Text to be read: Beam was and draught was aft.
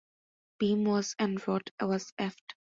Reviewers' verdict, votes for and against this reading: accepted, 2, 1